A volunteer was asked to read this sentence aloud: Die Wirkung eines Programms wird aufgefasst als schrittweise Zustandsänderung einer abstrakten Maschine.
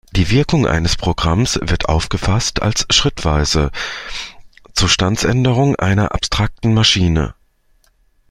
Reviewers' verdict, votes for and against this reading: rejected, 0, 2